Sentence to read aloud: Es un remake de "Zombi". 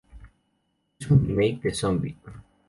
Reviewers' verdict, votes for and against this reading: rejected, 2, 2